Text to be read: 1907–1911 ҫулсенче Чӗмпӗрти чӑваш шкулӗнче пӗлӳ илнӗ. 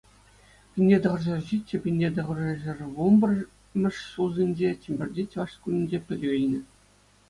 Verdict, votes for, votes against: rejected, 0, 2